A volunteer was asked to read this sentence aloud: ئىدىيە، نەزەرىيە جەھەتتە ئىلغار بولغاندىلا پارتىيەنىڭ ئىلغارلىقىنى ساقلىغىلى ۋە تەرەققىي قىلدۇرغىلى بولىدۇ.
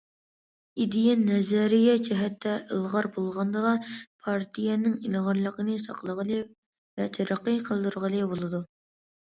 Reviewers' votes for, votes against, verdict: 2, 0, accepted